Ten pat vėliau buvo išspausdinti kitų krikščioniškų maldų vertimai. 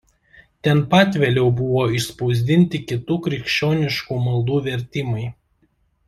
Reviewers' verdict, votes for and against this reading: accepted, 2, 0